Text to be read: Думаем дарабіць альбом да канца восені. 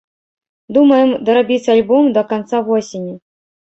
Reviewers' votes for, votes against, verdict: 2, 0, accepted